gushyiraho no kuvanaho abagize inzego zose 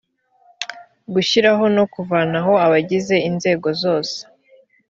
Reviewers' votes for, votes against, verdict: 2, 0, accepted